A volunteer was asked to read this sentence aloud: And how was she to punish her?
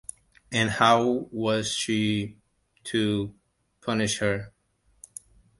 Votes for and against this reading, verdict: 2, 0, accepted